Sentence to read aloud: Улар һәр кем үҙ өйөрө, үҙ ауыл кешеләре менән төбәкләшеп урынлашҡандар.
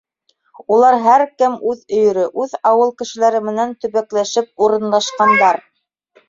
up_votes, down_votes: 1, 2